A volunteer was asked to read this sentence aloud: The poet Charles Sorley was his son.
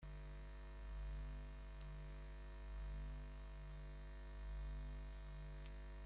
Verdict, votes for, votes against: rejected, 0, 2